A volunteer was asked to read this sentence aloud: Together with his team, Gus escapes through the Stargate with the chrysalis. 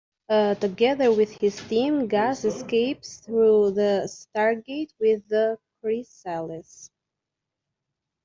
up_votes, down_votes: 2, 1